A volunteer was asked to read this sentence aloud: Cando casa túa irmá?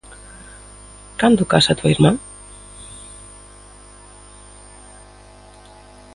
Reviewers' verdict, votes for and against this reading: accepted, 2, 0